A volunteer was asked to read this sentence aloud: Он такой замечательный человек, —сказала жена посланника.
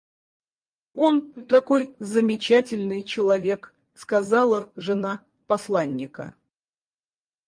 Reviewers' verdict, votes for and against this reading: rejected, 0, 4